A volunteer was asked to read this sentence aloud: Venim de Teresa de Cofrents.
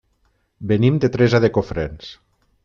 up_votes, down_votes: 3, 0